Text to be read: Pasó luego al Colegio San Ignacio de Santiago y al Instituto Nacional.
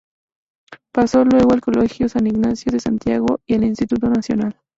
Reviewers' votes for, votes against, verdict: 4, 0, accepted